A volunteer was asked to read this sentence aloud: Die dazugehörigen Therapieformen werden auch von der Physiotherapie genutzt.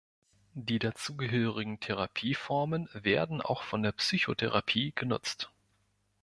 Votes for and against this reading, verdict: 1, 2, rejected